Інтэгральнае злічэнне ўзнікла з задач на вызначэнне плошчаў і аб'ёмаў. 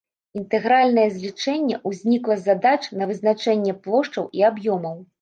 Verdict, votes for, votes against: accepted, 2, 0